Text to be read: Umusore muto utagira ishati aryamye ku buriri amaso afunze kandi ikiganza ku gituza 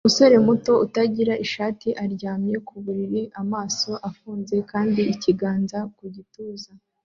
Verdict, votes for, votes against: accepted, 2, 0